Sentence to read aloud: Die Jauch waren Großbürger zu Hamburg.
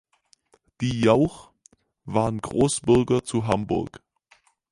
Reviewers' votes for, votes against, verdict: 4, 0, accepted